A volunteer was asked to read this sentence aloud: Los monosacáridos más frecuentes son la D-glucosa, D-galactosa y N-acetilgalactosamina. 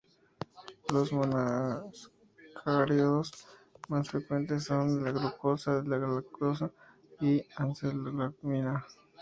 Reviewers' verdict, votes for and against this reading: rejected, 0, 2